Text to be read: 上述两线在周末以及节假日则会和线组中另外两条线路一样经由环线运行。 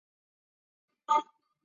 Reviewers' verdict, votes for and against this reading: rejected, 1, 5